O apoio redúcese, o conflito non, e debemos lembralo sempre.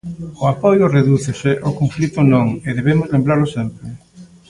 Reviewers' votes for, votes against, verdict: 2, 0, accepted